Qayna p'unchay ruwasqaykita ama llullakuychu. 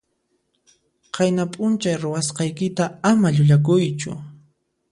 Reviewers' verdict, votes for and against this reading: accepted, 2, 0